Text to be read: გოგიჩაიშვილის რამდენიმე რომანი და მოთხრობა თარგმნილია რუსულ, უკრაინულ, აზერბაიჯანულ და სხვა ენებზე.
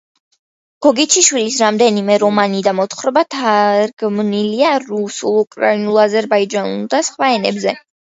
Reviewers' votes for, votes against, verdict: 1, 2, rejected